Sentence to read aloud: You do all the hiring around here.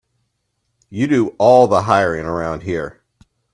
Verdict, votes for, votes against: accepted, 2, 0